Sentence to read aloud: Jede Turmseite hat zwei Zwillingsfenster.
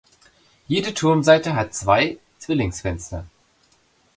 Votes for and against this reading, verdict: 2, 0, accepted